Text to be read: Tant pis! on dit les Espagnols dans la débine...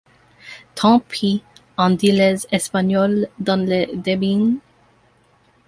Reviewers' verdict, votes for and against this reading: rejected, 1, 2